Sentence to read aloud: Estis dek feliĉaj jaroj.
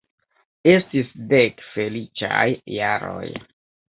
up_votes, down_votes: 1, 2